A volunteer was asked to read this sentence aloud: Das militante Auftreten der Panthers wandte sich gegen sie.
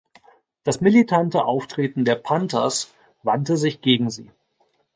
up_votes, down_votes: 2, 0